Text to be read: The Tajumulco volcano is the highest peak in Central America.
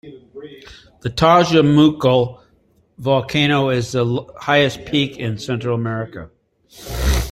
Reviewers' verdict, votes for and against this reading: rejected, 0, 2